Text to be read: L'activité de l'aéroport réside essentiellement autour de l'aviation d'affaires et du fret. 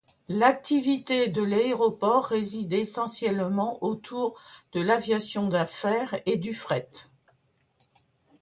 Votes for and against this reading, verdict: 2, 0, accepted